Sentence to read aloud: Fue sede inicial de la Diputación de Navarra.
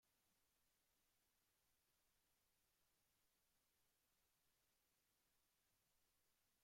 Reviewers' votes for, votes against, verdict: 0, 2, rejected